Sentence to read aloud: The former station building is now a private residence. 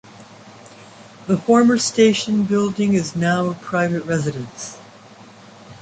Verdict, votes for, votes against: accepted, 2, 0